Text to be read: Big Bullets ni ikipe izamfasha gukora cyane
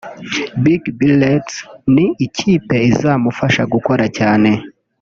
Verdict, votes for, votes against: rejected, 0, 2